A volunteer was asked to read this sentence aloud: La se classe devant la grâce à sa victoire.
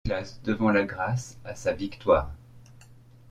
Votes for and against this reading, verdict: 1, 2, rejected